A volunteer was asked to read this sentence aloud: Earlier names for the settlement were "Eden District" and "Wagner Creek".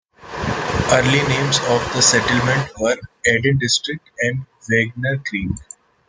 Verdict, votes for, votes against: rejected, 0, 2